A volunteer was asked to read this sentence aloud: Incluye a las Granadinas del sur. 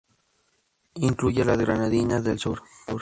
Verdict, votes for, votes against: rejected, 0, 2